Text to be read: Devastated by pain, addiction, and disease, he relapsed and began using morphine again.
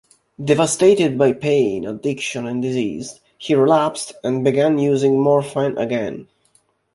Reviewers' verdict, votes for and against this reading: accepted, 2, 1